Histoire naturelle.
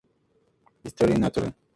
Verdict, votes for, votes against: accepted, 2, 0